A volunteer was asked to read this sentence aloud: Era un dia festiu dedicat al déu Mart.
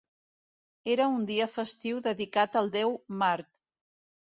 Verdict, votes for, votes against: accepted, 3, 0